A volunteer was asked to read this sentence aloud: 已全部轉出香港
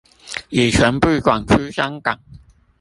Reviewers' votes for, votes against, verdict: 0, 2, rejected